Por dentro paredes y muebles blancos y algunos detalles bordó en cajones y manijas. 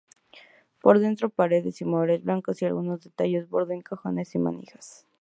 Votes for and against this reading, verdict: 0, 2, rejected